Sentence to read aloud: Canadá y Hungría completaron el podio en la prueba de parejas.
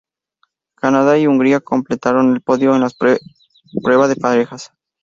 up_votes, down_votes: 0, 2